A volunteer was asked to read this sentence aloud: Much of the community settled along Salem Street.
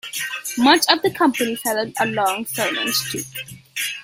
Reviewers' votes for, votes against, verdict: 0, 2, rejected